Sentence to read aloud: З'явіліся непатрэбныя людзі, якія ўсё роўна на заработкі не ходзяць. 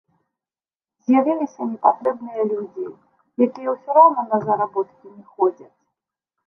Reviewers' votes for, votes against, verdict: 1, 2, rejected